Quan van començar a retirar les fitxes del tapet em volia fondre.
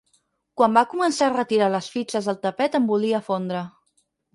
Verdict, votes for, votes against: rejected, 2, 4